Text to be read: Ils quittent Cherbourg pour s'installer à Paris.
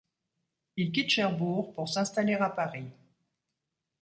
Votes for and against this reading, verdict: 2, 0, accepted